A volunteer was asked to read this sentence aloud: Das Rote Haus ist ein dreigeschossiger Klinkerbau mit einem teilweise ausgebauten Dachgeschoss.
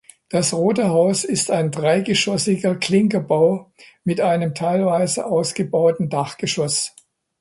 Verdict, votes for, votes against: accepted, 2, 0